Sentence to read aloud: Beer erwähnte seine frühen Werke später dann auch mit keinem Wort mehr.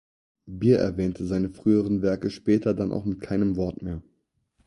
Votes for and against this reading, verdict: 4, 0, accepted